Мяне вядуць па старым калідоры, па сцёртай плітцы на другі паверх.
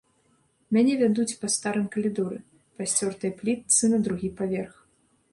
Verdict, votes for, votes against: rejected, 0, 2